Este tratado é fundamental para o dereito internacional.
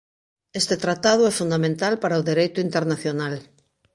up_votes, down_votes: 2, 0